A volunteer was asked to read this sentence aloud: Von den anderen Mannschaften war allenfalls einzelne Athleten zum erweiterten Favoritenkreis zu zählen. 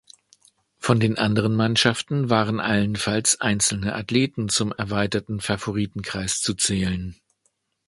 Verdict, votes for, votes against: rejected, 1, 2